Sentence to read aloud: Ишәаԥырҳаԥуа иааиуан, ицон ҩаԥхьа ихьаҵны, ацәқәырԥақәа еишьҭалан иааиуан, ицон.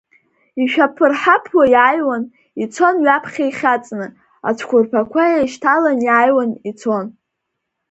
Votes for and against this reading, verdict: 1, 3, rejected